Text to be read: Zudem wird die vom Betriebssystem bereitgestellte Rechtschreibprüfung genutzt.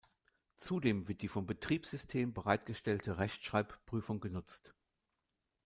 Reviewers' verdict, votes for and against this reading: accepted, 2, 0